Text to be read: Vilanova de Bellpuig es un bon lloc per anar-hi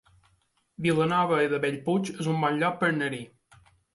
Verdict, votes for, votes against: rejected, 0, 3